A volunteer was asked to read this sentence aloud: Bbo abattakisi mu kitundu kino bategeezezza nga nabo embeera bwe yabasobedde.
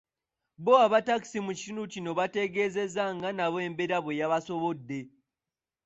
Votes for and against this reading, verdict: 0, 2, rejected